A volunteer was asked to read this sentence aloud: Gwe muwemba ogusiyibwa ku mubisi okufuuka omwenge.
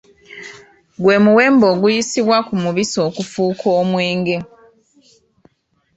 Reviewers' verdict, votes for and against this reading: accepted, 2, 0